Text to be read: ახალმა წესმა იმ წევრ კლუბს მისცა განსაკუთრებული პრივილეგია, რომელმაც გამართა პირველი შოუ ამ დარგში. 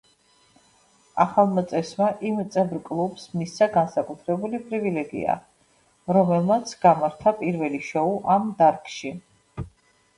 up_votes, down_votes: 2, 0